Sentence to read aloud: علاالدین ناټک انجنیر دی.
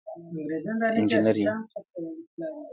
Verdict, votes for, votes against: rejected, 0, 2